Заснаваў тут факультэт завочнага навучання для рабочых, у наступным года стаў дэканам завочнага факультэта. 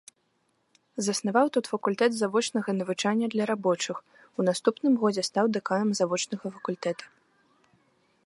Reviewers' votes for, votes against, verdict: 1, 2, rejected